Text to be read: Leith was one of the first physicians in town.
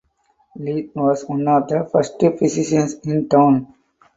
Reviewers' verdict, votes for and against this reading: accepted, 4, 0